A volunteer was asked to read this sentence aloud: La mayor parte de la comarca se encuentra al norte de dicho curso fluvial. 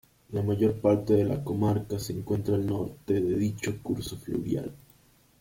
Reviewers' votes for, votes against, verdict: 0, 2, rejected